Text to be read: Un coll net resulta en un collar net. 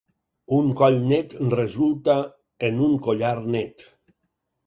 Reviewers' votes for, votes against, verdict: 6, 0, accepted